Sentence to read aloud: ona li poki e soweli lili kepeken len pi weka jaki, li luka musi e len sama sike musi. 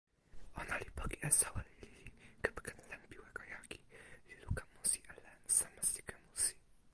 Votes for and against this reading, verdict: 1, 2, rejected